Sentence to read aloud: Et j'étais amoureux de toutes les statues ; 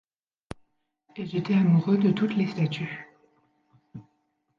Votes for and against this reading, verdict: 2, 0, accepted